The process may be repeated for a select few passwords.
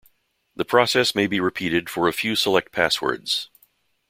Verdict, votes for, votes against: rejected, 0, 2